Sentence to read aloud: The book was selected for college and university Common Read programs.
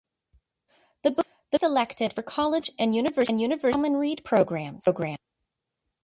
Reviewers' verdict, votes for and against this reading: rejected, 0, 2